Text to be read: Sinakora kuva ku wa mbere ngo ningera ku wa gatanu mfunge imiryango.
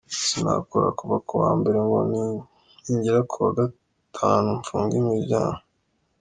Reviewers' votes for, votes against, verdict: 2, 0, accepted